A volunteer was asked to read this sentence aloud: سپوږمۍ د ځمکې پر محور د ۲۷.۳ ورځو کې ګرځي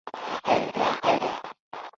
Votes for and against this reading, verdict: 0, 2, rejected